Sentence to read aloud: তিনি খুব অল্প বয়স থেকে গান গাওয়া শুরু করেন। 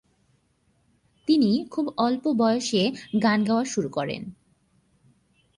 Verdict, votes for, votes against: rejected, 0, 2